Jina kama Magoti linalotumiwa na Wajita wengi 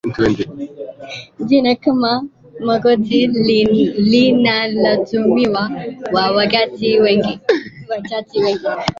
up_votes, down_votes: 1, 2